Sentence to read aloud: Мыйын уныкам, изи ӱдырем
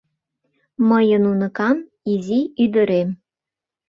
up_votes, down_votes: 2, 0